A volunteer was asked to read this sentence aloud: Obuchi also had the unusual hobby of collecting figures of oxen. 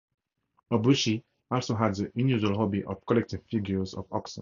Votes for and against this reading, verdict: 0, 4, rejected